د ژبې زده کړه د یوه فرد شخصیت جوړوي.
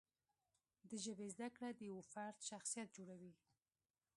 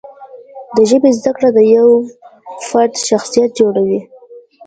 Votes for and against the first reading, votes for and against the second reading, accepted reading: 2, 0, 1, 2, first